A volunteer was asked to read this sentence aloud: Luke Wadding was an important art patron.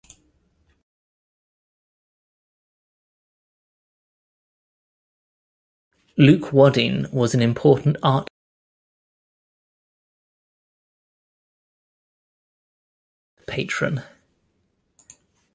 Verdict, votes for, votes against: rejected, 1, 2